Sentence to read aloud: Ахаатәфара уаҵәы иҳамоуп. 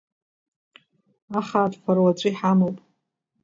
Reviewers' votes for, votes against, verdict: 1, 2, rejected